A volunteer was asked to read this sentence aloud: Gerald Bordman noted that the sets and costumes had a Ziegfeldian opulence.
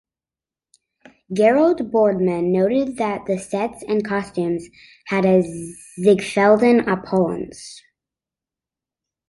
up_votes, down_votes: 2, 0